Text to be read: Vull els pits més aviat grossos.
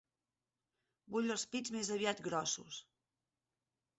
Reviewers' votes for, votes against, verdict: 6, 0, accepted